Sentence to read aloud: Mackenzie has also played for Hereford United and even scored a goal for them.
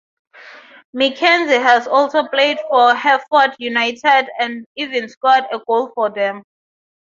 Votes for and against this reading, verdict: 6, 3, accepted